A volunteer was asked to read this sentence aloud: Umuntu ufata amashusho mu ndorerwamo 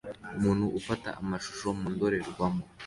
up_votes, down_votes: 2, 0